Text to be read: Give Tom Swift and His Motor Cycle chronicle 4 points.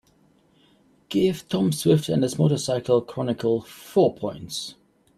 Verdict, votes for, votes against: rejected, 0, 2